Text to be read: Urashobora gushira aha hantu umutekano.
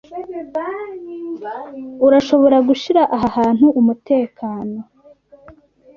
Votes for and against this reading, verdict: 0, 2, rejected